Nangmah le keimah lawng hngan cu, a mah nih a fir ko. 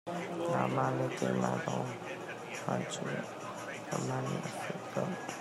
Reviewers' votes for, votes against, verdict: 0, 2, rejected